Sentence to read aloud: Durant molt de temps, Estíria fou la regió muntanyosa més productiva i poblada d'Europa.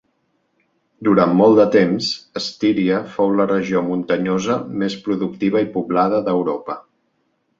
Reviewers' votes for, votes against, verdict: 2, 0, accepted